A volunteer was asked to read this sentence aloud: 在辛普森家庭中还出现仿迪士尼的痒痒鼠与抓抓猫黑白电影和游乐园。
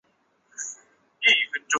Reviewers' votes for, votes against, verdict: 0, 2, rejected